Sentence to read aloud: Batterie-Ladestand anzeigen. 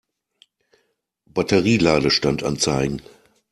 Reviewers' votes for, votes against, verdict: 2, 0, accepted